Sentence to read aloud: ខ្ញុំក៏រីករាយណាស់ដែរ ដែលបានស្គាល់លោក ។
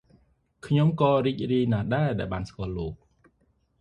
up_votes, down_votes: 2, 0